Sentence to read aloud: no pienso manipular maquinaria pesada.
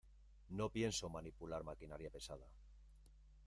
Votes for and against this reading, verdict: 2, 1, accepted